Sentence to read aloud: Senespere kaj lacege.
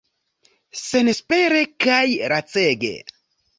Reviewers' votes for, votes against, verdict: 1, 2, rejected